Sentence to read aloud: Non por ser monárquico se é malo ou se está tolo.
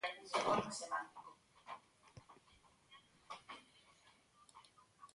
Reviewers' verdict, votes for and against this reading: rejected, 0, 2